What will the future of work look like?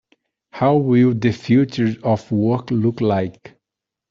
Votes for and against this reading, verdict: 0, 2, rejected